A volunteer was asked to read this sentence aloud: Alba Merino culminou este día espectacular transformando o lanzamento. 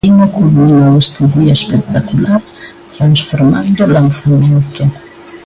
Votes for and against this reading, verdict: 0, 2, rejected